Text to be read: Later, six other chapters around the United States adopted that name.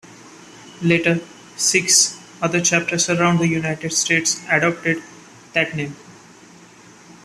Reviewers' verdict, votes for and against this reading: accepted, 2, 0